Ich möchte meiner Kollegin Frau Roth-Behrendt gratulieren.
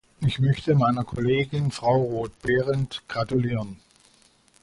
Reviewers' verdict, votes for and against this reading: accepted, 2, 0